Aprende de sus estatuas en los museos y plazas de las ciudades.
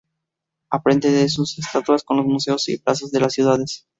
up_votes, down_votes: 0, 2